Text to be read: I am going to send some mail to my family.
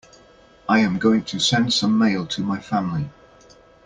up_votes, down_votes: 2, 0